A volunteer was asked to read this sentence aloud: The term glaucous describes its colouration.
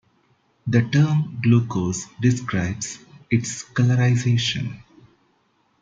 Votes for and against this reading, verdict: 0, 2, rejected